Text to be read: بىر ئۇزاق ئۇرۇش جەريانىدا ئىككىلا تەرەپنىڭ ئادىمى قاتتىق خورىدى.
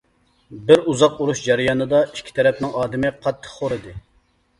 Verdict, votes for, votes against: rejected, 1, 2